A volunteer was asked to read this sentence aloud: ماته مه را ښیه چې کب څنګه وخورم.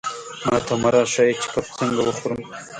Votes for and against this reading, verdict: 2, 1, accepted